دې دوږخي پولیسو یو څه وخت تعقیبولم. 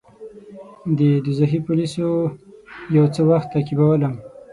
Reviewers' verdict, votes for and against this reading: rejected, 0, 6